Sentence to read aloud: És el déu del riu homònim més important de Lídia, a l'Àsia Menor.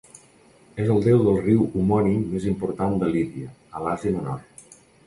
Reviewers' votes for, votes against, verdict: 2, 0, accepted